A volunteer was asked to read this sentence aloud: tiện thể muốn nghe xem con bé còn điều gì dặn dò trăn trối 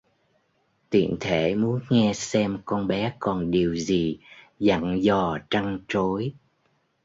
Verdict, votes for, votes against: accepted, 2, 0